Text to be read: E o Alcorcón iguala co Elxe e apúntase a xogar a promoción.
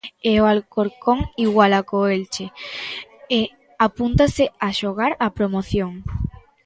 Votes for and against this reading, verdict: 0, 2, rejected